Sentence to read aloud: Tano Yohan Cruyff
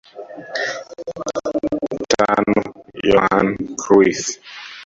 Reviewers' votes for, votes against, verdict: 0, 2, rejected